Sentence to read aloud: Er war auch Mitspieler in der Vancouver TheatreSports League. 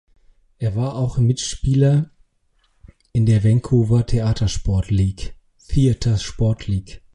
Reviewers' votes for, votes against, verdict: 0, 3, rejected